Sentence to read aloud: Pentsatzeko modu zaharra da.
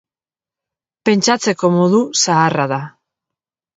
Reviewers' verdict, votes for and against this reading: accepted, 2, 0